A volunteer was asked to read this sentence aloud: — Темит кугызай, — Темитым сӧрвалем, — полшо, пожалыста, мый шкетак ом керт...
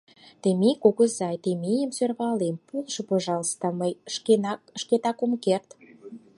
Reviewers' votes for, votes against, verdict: 2, 4, rejected